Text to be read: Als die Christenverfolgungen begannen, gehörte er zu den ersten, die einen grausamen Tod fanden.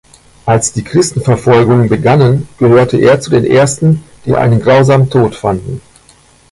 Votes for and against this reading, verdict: 1, 2, rejected